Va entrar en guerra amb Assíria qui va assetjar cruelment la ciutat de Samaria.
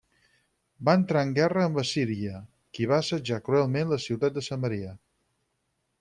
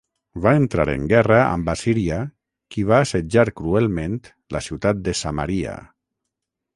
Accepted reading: first